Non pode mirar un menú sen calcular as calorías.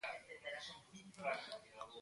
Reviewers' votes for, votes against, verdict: 0, 2, rejected